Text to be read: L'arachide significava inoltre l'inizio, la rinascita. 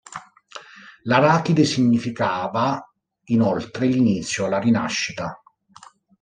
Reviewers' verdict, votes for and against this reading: accepted, 2, 0